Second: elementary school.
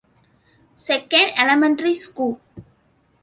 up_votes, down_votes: 2, 0